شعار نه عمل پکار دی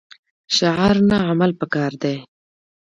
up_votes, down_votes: 2, 0